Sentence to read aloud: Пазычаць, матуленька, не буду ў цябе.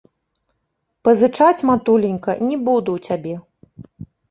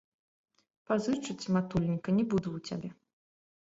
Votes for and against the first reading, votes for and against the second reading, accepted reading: 3, 0, 1, 2, first